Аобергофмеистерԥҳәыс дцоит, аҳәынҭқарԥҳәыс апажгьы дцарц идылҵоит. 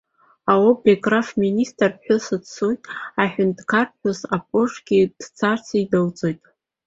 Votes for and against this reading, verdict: 2, 1, accepted